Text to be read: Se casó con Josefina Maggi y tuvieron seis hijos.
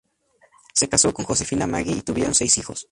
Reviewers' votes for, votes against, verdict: 0, 2, rejected